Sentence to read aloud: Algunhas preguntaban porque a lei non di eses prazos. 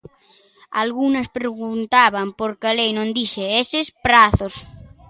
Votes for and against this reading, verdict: 0, 2, rejected